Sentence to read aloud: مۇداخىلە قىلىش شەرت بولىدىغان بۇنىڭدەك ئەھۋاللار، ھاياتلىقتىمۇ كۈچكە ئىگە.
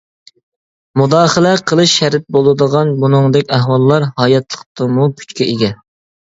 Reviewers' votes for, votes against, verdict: 2, 0, accepted